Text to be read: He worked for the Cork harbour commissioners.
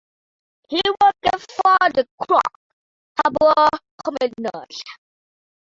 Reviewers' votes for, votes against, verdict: 0, 2, rejected